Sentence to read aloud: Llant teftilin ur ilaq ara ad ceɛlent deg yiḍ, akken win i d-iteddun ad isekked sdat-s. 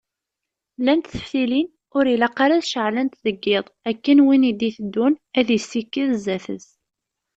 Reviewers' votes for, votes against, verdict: 2, 0, accepted